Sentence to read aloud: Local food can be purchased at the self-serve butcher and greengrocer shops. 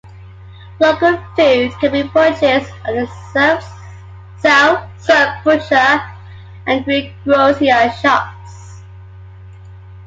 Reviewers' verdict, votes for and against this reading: rejected, 0, 2